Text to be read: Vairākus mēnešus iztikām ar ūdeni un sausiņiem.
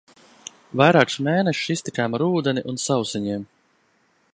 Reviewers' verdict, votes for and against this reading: accepted, 2, 0